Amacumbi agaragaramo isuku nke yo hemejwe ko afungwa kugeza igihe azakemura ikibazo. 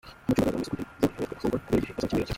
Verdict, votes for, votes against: rejected, 0, 2